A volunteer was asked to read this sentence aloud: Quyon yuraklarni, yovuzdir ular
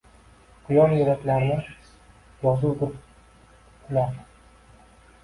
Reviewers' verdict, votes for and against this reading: rejected, 1, 2